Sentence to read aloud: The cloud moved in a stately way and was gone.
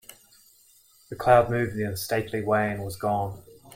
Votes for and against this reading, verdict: 0, 2, rejected